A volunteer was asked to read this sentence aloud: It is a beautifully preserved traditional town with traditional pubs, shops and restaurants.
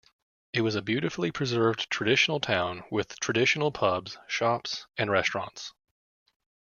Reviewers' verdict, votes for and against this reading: rejected, 0, 2